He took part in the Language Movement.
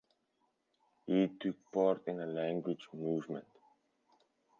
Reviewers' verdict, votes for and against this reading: accepted, 4, 0